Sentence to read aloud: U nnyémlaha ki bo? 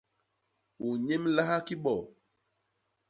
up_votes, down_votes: 2, 0